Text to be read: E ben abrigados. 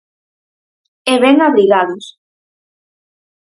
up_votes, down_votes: 4, 0